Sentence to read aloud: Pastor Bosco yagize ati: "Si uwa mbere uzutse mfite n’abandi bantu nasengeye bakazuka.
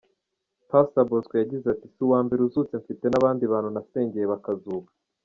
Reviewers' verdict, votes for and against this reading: accepted, 2, 1